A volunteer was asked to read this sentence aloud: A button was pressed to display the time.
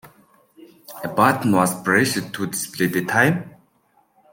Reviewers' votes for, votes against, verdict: 2, 0, accepted